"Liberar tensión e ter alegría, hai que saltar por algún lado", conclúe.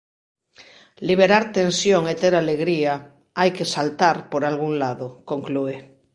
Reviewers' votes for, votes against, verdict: 2, 0, accepted